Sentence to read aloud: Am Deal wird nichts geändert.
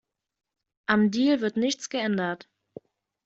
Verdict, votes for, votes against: accepted, 2, 0